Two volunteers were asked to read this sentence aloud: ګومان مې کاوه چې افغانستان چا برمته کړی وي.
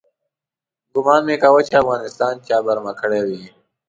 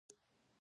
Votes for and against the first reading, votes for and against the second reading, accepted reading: 2, 0, 1, 2, first